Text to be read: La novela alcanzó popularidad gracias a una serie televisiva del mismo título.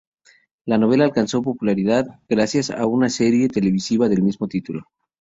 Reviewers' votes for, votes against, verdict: 2, 0, accepted